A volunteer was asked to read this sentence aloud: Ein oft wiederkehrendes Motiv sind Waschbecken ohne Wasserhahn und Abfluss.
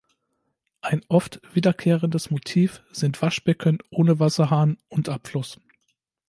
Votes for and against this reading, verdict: 2, 0, accepted